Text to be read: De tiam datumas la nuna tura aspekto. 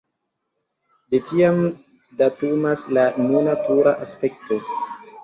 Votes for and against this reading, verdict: 0, 2, rejected